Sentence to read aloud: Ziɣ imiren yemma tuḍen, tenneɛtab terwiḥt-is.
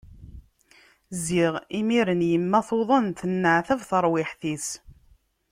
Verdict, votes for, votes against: accepted, 2, 1